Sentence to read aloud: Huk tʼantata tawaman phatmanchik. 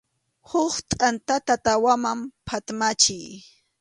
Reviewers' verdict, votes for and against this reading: accepted, 2, 0